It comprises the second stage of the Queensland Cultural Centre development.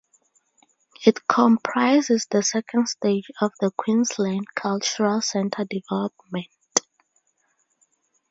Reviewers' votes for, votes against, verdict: 4, 0, accepted